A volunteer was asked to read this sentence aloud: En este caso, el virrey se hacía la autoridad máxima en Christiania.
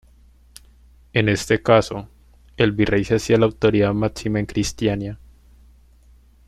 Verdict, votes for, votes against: rejected, 1, 2